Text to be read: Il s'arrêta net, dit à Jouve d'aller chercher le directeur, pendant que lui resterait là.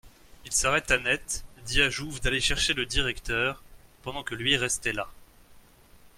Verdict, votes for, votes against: rejected, 1, 2